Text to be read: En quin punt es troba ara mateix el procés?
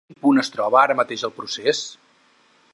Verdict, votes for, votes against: rejected, 0, 4